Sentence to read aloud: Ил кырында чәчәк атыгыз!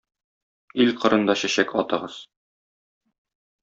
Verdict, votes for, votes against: accepted, 2, 0